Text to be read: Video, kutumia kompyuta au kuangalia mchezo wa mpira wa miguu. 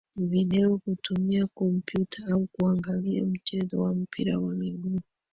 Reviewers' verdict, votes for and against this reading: rejected, 1, 2